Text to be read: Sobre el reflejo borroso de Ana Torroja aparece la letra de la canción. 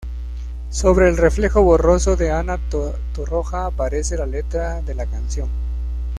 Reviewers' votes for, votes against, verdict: 1, 2, rejected